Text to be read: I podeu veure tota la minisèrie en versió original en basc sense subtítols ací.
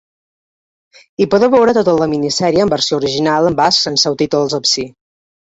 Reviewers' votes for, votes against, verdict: 1, 2, rejected